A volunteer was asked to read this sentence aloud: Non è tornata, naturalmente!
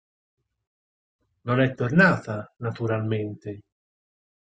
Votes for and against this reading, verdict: 6, 2, accepted